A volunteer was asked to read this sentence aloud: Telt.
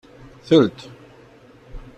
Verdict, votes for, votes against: accepted, 2, 0